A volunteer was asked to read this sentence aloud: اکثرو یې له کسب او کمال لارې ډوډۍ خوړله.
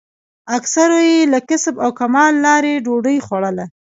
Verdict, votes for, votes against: accepted, 2, 0